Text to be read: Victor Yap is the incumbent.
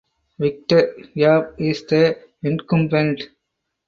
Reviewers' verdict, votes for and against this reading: accepted, 4, 0